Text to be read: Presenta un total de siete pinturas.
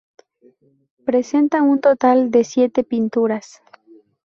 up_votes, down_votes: 2, 0